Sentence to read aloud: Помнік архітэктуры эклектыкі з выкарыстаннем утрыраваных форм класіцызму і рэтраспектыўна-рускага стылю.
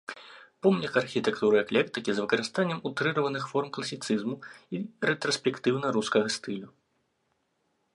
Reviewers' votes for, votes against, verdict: 2, 0, accepted